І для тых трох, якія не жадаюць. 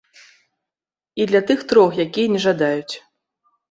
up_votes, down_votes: 2, 0